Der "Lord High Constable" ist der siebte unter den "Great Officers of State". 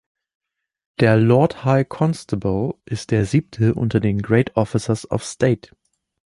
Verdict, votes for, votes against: accepted, 2, 0